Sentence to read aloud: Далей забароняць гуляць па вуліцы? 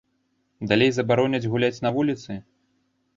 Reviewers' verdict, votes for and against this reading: rejected, 0, 2